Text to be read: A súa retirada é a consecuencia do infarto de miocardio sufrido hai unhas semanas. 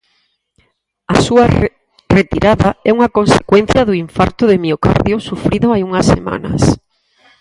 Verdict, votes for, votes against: rejected, 0, 4